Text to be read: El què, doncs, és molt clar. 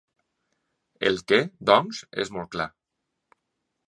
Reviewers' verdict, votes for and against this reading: accepted, 3, 0